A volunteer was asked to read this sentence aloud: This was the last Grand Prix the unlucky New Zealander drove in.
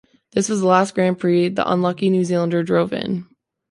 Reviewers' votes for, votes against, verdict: 2, 1, accepted